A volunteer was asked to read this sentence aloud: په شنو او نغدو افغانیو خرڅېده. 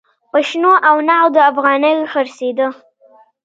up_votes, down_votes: 1, 2